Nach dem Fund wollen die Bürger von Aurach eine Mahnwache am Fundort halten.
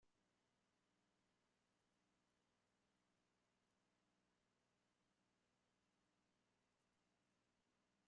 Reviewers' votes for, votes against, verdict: 0, 2, rejected